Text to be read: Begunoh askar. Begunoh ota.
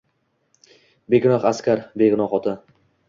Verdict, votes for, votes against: accepted, 2, 0